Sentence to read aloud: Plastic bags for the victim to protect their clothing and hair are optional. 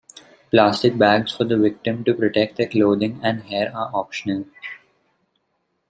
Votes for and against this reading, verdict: 2, 1, accepted